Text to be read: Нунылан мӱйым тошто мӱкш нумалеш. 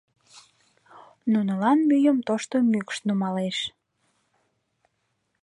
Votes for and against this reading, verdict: 3, 0, accepted